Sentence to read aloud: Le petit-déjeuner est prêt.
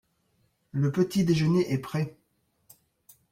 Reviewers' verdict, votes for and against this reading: accepted, 2, 0